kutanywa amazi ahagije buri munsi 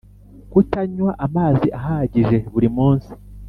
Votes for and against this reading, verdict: 2, 1, accepted